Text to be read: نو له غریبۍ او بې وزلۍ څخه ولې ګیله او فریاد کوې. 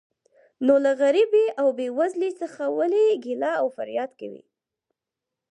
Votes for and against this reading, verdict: 2, 4, rejected